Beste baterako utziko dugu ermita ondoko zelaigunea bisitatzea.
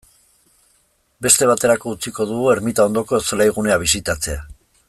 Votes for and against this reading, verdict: 2, 0, accepted